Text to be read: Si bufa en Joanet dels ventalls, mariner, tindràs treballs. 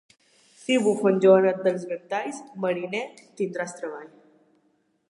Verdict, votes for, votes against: accepted, 2, 0